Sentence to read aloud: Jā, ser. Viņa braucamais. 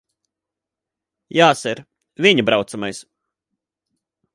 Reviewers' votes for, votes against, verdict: 8, 0, accepted